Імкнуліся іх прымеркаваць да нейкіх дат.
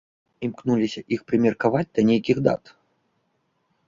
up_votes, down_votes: 2, 0